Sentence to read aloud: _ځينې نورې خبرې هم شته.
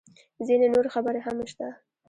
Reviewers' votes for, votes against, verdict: 2, 0, accepted